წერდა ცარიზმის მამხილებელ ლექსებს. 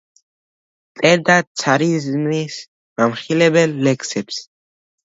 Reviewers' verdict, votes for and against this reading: rejected, 1, 2